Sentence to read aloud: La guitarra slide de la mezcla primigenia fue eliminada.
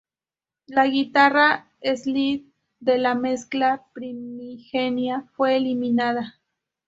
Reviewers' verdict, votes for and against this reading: rejected, 0, 2